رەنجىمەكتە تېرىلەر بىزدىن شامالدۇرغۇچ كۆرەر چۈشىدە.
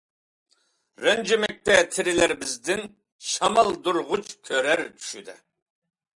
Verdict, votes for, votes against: accepted, 2, 0